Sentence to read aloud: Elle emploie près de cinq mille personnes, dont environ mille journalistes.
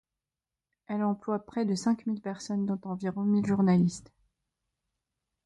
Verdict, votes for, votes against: accepted, 2, 0